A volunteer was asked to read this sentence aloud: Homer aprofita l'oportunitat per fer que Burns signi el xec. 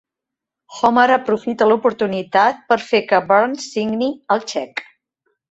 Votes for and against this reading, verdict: 4, 0, accepted